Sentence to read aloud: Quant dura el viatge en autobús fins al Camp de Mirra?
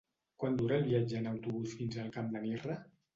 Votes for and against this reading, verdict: 1, 2, rejected